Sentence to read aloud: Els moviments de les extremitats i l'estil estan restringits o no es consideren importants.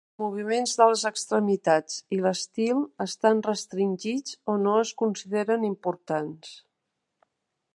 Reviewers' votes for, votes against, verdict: 1, 2, rejected